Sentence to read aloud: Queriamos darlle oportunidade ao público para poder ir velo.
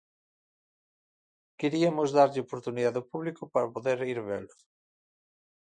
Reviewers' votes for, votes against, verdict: 0, 2, rejected